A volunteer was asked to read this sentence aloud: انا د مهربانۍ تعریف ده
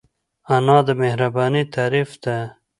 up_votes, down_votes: 2, 0